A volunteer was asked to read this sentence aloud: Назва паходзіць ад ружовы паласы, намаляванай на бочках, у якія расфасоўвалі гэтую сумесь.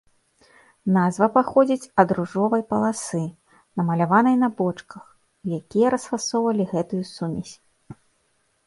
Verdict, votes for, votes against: rejected, 0, 2